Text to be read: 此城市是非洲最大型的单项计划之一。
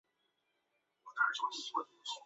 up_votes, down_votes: 0, 2